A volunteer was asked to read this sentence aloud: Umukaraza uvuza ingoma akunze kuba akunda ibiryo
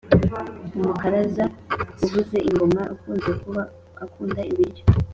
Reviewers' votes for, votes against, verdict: 4, 0, accepted